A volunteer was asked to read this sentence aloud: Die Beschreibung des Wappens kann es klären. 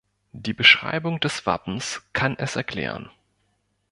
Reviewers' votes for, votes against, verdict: 0, 2, rejected